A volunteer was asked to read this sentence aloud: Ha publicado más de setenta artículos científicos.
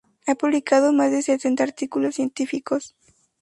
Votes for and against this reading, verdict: 4, 2, accepted